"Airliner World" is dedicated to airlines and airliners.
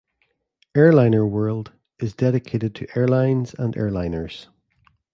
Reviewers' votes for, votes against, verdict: 2, 0, accepted